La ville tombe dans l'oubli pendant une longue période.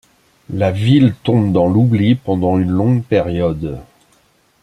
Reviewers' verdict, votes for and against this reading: accepted, 2, 0